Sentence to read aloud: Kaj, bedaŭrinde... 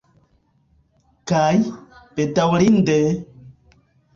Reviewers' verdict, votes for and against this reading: rejected, 1, 2